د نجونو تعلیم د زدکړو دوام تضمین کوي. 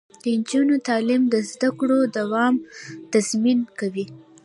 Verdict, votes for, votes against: rejected, 1, 2